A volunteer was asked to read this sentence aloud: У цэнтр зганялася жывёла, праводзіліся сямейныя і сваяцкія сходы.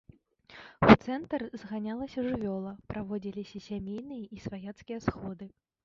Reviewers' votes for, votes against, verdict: 1, 2, rejected